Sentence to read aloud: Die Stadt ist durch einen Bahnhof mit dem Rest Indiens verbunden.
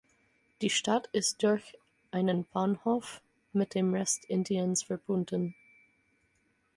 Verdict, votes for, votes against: accepted, 4, 0